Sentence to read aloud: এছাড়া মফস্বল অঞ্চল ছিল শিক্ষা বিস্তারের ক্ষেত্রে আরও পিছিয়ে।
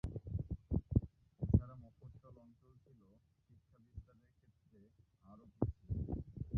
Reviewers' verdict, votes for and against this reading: rejected, 0, 2